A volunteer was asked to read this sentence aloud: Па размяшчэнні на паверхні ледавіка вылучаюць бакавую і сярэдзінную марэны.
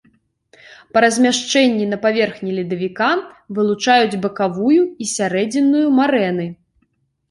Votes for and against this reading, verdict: 2, 0, accepted